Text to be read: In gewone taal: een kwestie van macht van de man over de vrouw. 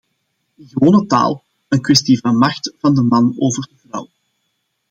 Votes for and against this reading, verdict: 0, 2, rejected